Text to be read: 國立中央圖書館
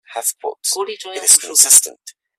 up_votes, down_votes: 0, 2